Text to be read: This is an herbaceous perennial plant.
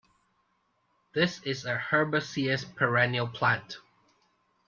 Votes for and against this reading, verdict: 1, 2, rejected